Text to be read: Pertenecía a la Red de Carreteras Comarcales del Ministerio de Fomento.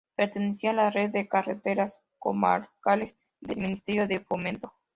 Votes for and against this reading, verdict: 2, 0, accepted